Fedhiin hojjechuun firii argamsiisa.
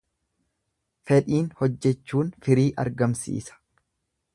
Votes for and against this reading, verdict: 2, 0, accepted